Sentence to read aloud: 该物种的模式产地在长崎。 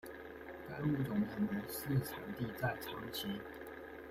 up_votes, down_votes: 1, 2